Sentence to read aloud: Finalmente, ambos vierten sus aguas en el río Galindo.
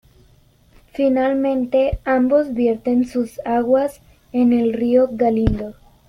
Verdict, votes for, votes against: accepted, 2, 0